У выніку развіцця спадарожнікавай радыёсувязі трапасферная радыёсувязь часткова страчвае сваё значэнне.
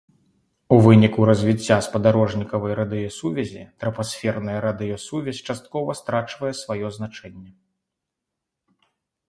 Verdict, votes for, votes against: accepted, 2, 0